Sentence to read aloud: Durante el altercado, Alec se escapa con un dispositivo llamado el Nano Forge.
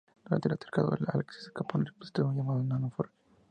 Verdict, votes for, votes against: rejected, 0, 4